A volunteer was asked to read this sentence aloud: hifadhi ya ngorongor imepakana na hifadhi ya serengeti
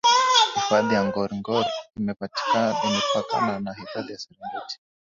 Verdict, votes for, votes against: rejected, 6, 6